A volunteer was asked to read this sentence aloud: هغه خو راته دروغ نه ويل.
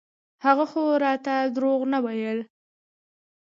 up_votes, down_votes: 2, 1